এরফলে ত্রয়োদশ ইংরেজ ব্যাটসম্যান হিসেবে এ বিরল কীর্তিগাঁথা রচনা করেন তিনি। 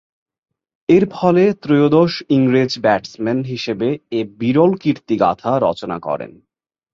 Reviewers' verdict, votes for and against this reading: rejected, 4, 4